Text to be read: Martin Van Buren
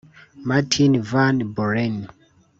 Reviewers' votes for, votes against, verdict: 1, 2, rejected